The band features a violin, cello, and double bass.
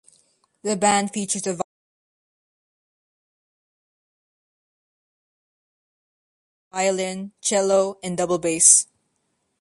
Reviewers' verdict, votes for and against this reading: rejected, 1, 2